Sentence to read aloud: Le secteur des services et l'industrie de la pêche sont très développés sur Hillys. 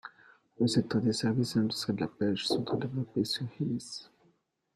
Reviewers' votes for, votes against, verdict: 0, 2, rejected